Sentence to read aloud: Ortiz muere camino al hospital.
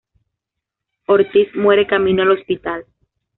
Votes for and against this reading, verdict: 2, 0, accepted